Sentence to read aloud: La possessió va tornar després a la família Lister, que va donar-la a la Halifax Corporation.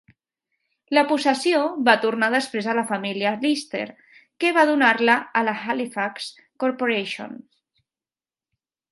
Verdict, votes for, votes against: accepted, 3, 0